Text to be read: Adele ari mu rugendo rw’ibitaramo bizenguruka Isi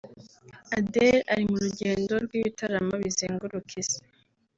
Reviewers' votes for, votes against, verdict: 1, 2, rejected